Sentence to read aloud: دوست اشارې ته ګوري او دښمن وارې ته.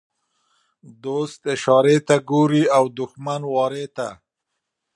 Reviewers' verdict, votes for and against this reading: accepted, 2, 0